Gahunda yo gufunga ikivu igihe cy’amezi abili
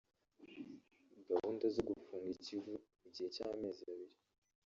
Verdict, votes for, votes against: rejected, 0, 2